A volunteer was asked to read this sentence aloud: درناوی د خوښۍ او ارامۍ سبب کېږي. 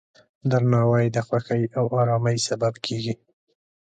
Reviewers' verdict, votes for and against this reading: accepted, 2, 0